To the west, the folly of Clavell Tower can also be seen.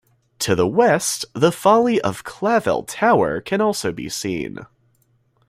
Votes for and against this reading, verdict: 2, 0, accepted